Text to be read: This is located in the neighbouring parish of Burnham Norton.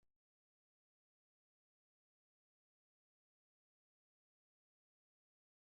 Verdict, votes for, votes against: rejected, 0, 2